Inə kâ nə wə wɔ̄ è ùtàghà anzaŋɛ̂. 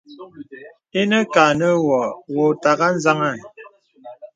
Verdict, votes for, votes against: accepted, 2, 0